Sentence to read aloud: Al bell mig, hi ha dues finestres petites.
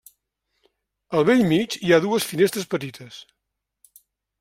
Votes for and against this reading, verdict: 3, 0, accepted